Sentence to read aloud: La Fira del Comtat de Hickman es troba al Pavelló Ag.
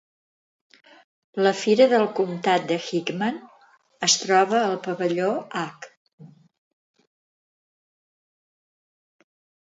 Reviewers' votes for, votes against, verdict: 2, 0, accepted